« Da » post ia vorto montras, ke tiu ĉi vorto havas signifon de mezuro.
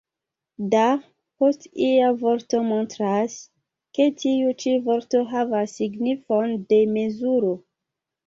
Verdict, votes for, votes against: accepted, 2, 0